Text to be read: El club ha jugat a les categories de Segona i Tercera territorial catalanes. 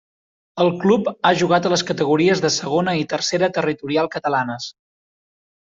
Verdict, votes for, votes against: accepted, 3, 0